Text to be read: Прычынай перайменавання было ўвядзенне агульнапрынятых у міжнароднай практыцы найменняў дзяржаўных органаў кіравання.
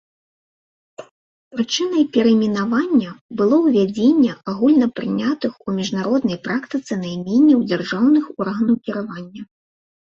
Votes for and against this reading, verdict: 2, 0, accepted